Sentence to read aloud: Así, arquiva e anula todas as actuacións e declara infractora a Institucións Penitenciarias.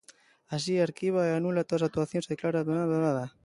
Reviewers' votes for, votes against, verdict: 0, 2, rejected